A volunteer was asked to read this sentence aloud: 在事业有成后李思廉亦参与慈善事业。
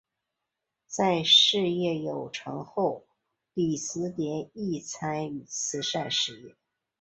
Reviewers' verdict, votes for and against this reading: accepted, 3, 0